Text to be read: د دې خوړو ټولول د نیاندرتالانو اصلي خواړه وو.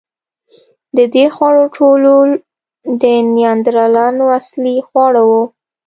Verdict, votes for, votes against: rejected, 1, 2